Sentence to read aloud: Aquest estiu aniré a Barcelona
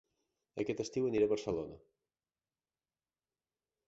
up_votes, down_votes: 2, 0